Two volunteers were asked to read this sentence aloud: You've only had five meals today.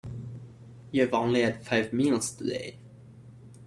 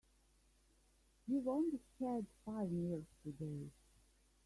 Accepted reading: first